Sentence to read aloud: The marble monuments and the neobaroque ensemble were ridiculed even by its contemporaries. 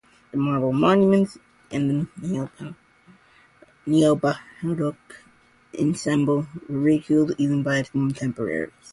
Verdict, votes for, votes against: rejected, 0, 2